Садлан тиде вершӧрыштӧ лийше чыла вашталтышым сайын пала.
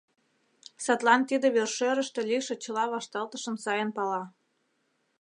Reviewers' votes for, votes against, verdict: 2, 0, accepted